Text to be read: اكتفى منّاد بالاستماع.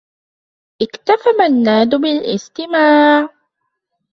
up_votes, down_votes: 2, 0